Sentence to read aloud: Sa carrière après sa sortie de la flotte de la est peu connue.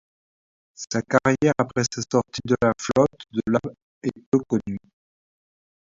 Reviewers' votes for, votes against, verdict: 1, 2, rejected